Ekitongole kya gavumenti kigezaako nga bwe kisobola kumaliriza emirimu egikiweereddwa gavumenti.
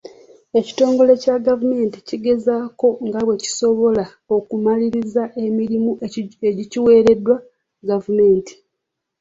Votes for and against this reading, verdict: 1, 3, rejected